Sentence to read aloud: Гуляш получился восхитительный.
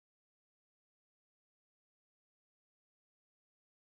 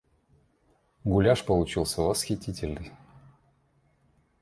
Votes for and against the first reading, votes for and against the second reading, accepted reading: 0, 14, 2, 0, second